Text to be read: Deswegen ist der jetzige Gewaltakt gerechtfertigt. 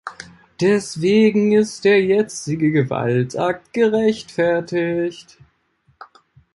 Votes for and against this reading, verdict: 2, 3, rejected